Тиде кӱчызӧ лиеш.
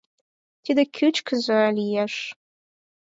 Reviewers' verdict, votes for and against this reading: rejected, 0, 4